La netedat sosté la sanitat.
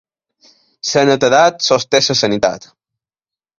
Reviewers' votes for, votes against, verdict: 1, 2, rejected